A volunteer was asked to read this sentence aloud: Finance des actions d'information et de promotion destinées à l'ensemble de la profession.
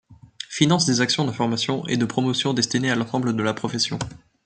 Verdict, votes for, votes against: rejected, 0, 2